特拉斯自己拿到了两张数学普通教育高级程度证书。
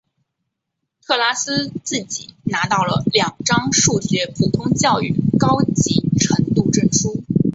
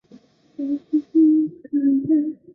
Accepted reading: first